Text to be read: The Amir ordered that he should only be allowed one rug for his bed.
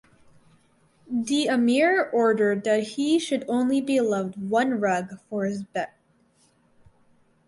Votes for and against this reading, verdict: 2, 2, rejected